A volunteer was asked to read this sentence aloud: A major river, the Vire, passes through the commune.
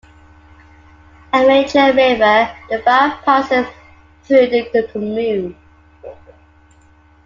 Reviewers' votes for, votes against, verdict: 0, 2, rejected